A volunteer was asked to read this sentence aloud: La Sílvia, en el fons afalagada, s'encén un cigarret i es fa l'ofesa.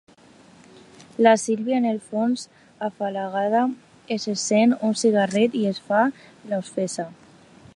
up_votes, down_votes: 0, 2